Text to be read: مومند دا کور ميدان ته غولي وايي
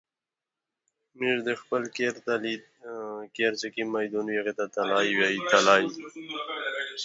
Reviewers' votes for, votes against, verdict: 0, 2, rejected